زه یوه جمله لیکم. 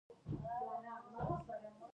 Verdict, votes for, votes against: rejected, 0, 2